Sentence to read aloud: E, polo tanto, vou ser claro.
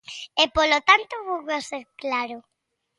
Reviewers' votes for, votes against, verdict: 1, 2, rejected